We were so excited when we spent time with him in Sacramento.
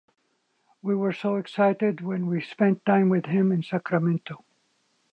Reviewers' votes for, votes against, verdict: 2, 0, accepted